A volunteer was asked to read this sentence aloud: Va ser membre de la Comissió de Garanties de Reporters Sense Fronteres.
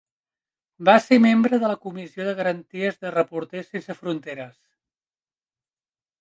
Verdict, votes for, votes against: accepted, 3, 0